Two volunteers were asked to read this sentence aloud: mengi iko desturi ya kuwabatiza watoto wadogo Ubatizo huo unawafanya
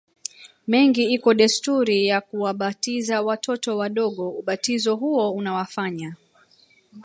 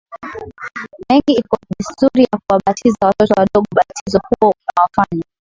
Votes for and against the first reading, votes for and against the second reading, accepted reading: 1, 2, 3, 2, second